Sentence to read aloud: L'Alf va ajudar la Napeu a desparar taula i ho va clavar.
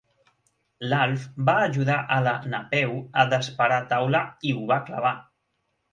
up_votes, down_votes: 1, 2